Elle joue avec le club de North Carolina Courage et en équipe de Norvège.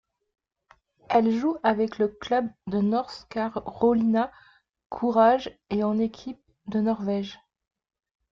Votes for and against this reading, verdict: 1, 2, rejected